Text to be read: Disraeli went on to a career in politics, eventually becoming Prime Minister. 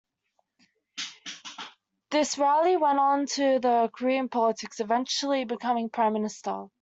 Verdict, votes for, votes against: rejected, 1, 2